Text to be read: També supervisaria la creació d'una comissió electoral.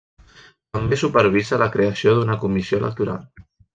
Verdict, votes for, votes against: rejected, 0, 2